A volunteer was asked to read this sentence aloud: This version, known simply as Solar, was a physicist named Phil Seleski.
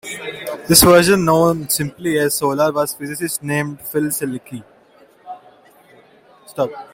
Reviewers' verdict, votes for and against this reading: accepted, 2, 0